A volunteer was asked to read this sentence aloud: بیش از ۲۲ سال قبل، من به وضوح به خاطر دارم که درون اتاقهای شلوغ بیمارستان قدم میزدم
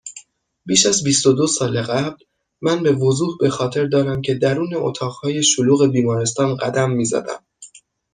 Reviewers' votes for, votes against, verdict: 0, 2, rejected